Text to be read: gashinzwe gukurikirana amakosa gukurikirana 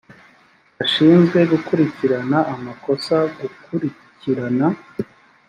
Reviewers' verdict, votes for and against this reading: accepted, 2, 0